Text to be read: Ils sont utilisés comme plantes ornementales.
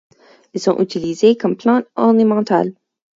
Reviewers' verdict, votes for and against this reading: rejected, 2, 4